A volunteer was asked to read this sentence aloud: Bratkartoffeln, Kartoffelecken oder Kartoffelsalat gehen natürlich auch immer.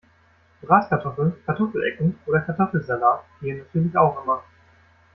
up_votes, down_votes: 1, 2